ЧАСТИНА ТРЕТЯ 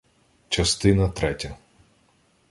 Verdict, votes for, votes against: accepted, 2, 0